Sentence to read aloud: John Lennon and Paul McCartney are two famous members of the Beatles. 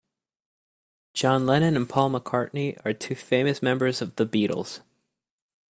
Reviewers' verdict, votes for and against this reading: accepted, 2, 0